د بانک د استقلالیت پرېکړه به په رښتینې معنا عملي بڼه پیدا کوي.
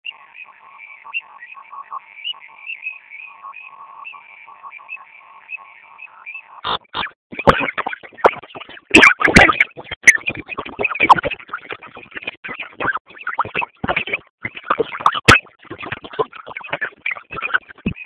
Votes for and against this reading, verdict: 1, 2, rejected